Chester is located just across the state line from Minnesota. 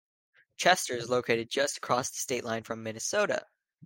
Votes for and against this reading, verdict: 2, 0, accepted